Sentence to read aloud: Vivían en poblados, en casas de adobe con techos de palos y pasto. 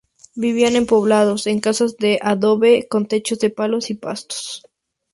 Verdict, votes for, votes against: accepted, 4, 0